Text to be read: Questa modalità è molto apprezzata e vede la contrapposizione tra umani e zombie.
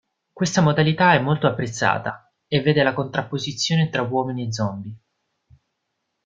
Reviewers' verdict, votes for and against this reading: rejected, 0, 2